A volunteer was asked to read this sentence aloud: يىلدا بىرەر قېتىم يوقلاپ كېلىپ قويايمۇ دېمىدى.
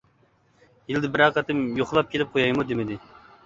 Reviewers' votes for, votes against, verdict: 2, 1, accepted